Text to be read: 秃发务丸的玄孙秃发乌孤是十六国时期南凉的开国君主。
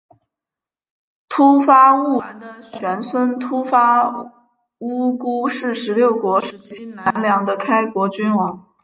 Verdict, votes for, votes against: rejected, 0, 3